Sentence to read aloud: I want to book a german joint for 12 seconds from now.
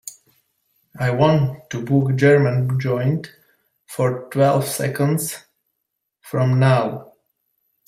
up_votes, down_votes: 0, 2